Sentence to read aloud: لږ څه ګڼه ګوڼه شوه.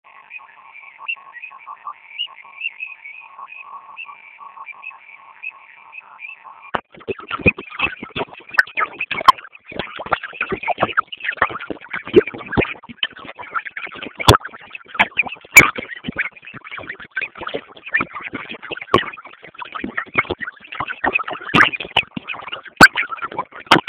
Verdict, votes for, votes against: rejected, 0, 2